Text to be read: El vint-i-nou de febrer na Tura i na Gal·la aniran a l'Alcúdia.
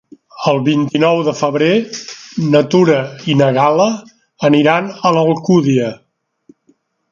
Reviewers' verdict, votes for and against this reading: accepted, 3, 1